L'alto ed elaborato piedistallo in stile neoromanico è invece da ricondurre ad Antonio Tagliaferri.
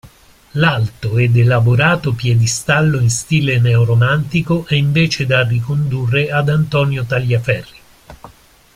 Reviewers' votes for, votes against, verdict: 0, 2, rejected